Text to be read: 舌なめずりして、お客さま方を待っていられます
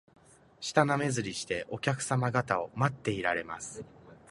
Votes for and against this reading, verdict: 2, 0, accepted